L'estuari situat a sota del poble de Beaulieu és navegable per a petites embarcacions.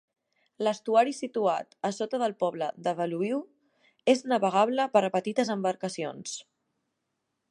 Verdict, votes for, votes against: rejected, 1, 2